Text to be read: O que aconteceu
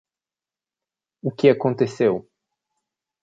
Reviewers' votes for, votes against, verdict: 2, 0, accepted